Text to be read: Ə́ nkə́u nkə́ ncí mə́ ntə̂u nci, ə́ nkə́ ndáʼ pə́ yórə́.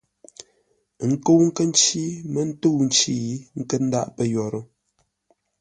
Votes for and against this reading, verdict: 2, 0, accepted